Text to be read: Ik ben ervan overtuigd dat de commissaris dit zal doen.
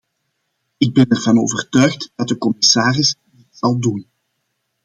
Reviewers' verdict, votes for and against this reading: rejected, 0, 2